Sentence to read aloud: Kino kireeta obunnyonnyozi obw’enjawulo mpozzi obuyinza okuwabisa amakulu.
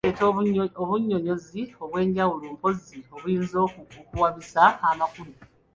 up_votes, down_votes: 1, 2